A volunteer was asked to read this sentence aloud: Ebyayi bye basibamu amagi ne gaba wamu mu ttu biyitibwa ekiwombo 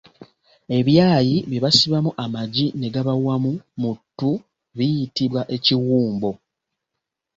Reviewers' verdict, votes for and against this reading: rejected, 1, 2